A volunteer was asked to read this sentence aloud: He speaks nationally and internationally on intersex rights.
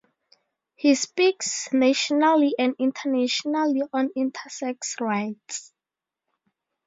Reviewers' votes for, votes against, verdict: 2, 0, accepted